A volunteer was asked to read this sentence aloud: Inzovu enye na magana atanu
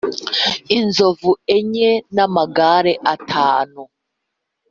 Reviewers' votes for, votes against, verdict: 0, 4, rejected